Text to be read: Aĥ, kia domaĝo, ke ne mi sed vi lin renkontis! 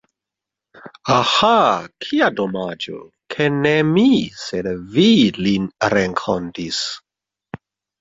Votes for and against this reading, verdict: 0, 3, rejected